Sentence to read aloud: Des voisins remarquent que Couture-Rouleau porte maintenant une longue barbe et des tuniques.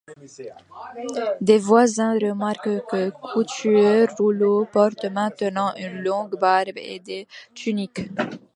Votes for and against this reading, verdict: 1, 2, rejected